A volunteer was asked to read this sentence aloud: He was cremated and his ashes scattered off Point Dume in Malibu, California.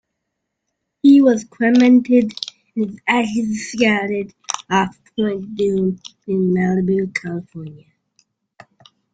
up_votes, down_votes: 0, 2